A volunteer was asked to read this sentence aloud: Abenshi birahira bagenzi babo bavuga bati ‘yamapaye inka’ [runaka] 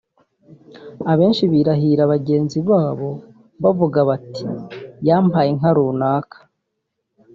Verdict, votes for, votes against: accepted, 2, 0